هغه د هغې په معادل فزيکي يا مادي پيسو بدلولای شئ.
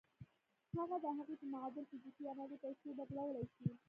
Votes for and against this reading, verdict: 0, 2, rejected